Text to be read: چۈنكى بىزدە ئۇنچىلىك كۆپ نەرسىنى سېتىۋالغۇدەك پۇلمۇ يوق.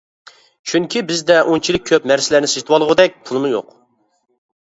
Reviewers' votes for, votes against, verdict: 0, 2, rejected